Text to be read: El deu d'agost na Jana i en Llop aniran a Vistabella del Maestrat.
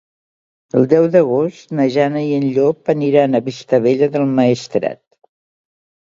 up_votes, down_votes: 2, 0